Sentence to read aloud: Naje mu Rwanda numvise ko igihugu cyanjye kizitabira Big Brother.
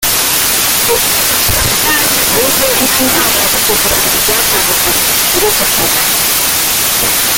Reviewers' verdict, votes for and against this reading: rejected, 0, 2